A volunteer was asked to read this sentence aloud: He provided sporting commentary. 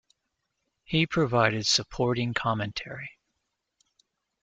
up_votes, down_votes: 1, 2